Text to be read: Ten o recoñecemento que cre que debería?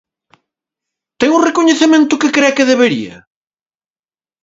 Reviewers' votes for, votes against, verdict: 2, 0, accepted